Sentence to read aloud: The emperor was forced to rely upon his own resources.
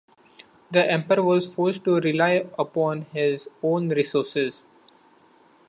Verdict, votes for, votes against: accepted, 2, 0